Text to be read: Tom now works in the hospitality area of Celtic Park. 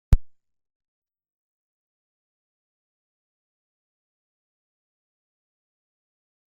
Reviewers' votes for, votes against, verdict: 0, 2, rejected